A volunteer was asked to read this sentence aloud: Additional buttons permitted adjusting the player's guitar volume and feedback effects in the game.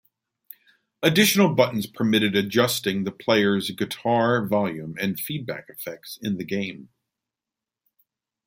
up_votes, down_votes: 2, 0